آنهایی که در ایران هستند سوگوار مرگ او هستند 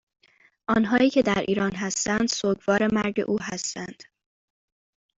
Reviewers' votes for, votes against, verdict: 2, 0, accepted